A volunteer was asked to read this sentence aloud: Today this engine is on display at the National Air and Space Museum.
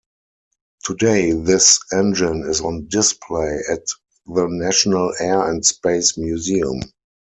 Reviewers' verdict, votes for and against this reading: accepted, 4, 0